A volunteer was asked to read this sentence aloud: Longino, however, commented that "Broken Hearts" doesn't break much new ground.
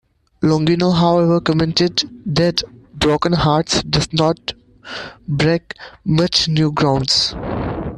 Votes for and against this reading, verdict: 0, 2, rejected